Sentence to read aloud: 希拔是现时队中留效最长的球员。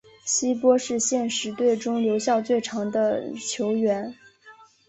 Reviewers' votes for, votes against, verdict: 0, 2, rejected